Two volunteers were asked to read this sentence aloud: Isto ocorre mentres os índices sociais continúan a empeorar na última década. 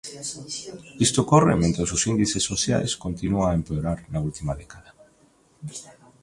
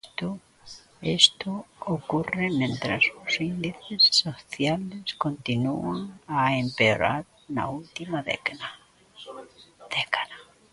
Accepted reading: first